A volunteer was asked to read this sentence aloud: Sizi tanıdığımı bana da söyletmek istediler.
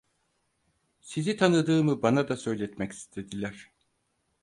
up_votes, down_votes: 4, 0